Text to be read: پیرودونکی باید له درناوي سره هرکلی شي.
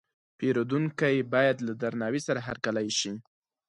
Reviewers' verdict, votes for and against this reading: accepted, 4, 0